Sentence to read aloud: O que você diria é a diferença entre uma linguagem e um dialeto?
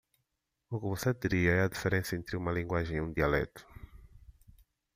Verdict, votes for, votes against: accepted, 2, 0